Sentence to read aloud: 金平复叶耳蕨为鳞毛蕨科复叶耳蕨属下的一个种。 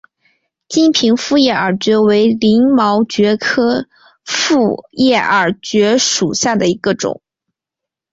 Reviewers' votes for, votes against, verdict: 2, 0, accepted